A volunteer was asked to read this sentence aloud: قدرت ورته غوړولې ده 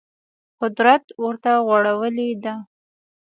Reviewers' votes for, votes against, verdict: 2, 0, accepted